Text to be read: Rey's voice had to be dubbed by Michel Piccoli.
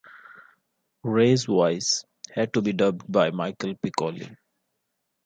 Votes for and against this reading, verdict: 2, 0, accepted